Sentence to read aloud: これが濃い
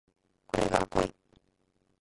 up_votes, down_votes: 0, 2